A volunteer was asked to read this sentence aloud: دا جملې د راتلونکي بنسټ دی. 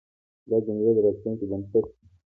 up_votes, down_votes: 0, 2